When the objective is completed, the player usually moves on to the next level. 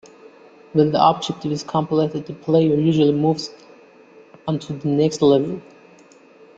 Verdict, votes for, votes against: accepted, 2, 0